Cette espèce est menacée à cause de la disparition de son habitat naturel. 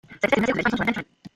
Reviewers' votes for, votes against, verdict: 0, 2, rejected